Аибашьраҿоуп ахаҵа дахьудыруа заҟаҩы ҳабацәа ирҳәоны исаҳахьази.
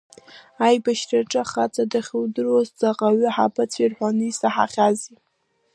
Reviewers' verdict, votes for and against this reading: rejected, 0, 2